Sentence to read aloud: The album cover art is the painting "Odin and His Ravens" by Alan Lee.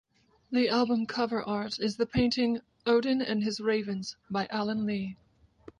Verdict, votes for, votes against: accepted, 2, 0